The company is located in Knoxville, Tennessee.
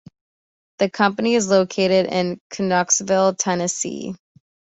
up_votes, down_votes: 2, 1